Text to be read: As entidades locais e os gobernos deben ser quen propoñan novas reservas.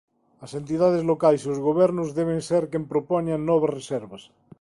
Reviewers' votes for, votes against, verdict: 2, 0, accepted